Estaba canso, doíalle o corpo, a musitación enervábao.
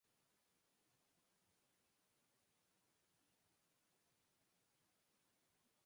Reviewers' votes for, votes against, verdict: 0, 4, rejected